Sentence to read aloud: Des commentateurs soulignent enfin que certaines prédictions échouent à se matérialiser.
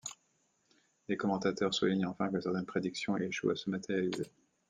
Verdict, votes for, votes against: accepted, 2, 1